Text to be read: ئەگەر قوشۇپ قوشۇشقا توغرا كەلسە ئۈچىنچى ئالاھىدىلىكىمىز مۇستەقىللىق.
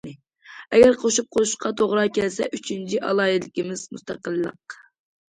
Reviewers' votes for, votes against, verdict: 2, 0, accepted